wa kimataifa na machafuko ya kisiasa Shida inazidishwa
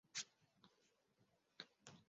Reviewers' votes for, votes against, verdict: 0, 3, rejected